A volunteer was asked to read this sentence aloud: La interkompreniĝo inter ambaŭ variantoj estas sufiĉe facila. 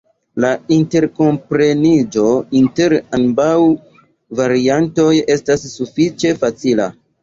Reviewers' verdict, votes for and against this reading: rejected, 0, 2